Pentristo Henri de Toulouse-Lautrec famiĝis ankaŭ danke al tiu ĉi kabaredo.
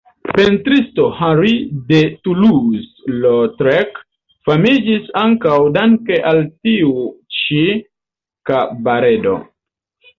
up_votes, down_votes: 1, 2